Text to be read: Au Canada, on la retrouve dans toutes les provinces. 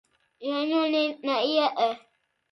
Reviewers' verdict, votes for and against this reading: rejected, 1, 2